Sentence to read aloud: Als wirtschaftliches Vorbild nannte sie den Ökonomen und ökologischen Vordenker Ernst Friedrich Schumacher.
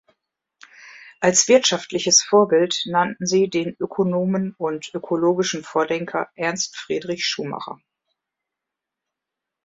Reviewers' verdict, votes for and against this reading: rejected, 1, 2